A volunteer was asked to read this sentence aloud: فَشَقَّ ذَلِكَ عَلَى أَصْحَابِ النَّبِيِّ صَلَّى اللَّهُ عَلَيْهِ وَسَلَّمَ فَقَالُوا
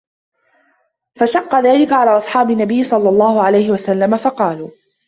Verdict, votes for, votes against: rejected, 1, 2